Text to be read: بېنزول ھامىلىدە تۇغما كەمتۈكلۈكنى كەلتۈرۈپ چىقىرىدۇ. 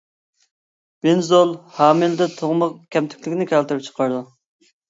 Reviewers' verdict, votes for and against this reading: rejected, 0, 2